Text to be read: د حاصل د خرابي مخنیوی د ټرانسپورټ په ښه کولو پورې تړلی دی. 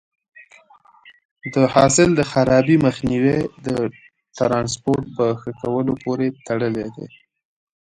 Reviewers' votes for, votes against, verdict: 2, 1, accepted